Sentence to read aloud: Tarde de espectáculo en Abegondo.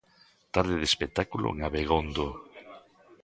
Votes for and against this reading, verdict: 1, 2, rejected